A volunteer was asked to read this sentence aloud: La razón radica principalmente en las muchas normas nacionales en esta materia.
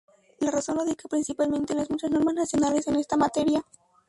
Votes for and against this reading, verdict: 0, 2, rejected